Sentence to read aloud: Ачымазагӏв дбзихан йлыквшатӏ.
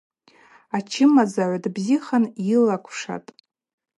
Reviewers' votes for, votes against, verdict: 2, 0, accepted